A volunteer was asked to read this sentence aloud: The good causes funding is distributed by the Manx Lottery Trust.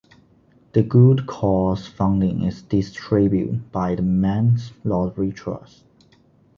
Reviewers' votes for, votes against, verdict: 0, 2, rejected